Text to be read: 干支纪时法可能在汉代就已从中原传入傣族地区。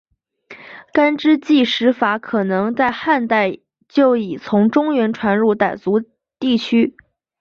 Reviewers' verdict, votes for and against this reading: accepted, 2, 0